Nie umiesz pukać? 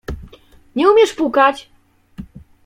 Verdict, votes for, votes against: accepted, 2, 0